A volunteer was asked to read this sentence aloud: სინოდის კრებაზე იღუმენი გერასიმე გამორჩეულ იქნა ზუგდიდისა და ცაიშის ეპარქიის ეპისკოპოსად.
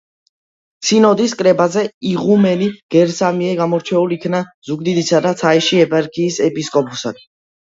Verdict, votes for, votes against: accepted, 2, 1